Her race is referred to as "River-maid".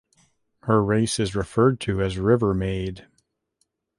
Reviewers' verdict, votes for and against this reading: accepted, 2, 0